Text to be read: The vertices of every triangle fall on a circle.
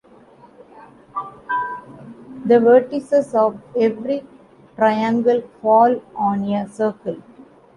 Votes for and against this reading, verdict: 1, 2, rejected